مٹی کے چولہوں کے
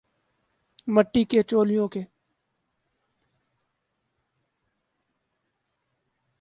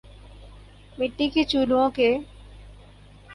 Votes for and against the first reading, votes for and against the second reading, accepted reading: 24, 12, 2, 2, first